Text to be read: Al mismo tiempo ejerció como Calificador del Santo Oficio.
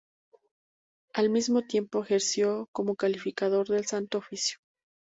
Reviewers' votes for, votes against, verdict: 2, 0, accepted